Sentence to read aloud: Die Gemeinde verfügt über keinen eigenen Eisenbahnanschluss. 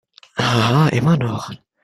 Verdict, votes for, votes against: rejected, 0, 2